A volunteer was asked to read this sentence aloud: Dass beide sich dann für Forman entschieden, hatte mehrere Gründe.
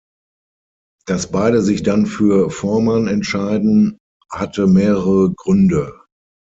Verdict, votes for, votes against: rejected, 0, 6